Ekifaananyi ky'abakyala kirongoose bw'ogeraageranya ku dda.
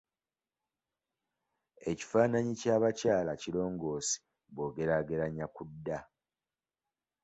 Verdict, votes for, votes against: accepted, 2, 0